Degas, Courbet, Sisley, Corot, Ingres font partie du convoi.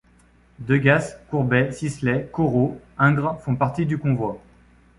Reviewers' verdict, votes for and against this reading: rejected, 0, 2